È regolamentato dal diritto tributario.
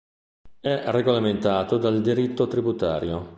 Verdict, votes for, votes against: accepted, 2, 0